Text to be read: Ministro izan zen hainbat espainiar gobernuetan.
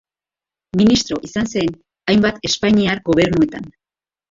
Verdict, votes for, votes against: accepted, 2, 1